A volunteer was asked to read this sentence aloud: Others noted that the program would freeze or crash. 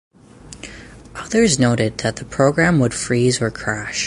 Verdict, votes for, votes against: accepted, 4, 0